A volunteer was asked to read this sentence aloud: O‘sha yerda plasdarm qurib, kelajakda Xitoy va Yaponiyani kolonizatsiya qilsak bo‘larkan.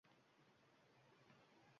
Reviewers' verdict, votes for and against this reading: rejected, 1, 2